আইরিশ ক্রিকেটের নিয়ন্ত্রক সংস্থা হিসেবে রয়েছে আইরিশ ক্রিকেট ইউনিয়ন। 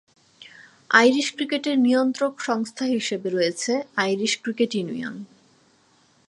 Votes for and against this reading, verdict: 2, 0, accepted